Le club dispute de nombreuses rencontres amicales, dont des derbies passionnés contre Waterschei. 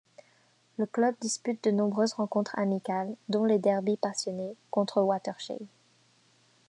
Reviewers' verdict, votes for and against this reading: rejected, 1, 2